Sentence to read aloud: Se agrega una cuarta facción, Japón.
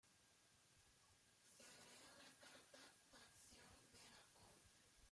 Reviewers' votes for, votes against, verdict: 0, 2, rejected